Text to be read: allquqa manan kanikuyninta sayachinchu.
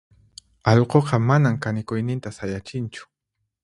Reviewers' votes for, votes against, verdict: 4, 0, accepted